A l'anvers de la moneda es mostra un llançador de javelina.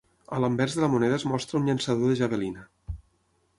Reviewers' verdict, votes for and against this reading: accepted, 6, 0